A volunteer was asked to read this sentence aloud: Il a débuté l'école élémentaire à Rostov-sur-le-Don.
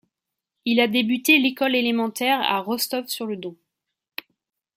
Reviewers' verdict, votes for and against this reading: accepted, 2, 0